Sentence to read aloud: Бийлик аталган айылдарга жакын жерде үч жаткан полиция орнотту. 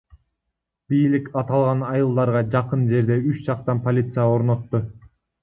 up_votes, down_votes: 1, 2